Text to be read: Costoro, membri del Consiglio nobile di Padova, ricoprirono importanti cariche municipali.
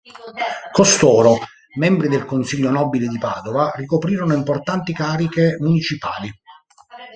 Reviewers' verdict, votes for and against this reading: rejected, 1, 2